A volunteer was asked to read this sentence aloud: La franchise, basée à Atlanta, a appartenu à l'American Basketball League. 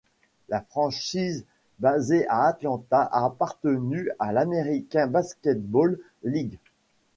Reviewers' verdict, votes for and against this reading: rejected, 1, 2